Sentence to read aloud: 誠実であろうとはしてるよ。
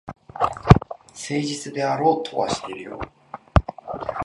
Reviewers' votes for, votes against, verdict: 1, 2, rejected